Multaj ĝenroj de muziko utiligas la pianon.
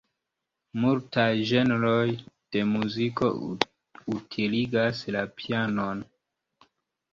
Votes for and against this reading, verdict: 2, 0, accepted